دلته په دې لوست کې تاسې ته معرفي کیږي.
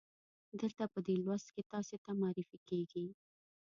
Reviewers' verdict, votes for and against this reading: rejected, 0, 2